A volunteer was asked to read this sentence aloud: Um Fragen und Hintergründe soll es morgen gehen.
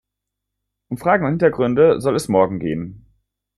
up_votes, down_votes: 2, 0